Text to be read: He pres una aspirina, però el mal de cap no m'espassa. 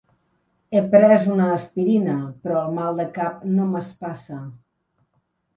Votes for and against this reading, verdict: 1, 2, rejected